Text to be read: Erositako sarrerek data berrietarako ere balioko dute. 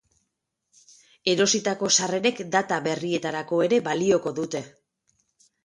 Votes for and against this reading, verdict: 10, 0, accepted